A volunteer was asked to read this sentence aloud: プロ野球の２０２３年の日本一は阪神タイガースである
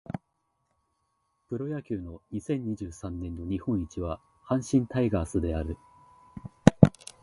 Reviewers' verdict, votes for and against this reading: rejected, 0, 2